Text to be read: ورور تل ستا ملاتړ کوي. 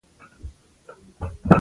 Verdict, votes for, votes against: rejected, 0, 2